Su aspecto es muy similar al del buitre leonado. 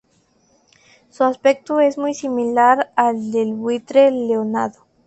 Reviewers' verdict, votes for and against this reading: accepted, 2, 0